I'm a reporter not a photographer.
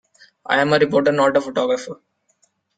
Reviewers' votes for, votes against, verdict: 1, 2, rejected